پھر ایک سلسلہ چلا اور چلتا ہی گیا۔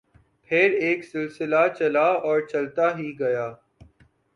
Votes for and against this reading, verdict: 3, 0, accepted